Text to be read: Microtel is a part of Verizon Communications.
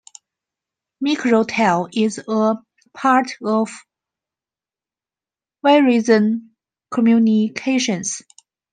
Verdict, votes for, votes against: rejected, 0, 2